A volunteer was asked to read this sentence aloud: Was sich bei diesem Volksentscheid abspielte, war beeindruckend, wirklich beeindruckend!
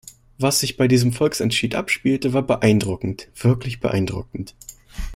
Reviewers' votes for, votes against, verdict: 1, 2, rejected